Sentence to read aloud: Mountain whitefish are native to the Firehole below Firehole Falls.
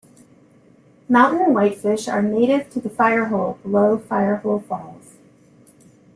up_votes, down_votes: 2, 0